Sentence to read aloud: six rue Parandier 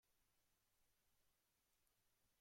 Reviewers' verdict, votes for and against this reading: rejected, 0, 2